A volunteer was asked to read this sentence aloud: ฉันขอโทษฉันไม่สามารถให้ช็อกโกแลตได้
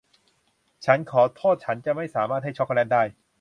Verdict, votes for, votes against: rejected, 0, 2